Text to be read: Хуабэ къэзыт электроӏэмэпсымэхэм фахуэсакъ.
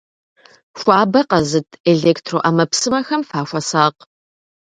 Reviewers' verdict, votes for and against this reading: accepted, 2, 0